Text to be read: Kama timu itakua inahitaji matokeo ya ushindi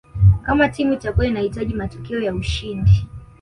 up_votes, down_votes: 2, 0